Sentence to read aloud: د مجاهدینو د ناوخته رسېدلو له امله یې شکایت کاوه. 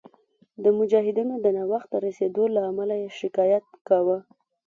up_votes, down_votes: 2, 3